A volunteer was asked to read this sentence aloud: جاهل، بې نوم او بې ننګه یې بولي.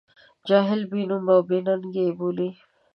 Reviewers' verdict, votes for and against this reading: rejected, 0, 2